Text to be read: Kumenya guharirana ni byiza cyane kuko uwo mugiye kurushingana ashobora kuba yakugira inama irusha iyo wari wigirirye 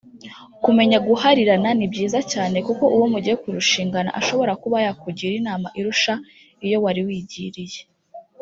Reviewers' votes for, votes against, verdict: 1, 2, rejected